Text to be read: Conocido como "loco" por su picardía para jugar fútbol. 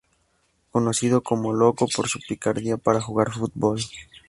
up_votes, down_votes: 4, 2